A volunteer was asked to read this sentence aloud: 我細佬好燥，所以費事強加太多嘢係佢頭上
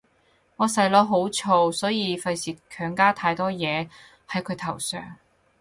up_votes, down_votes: 0, 4